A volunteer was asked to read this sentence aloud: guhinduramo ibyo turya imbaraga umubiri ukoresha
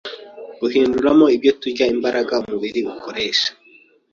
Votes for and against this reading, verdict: 2, 0, accepted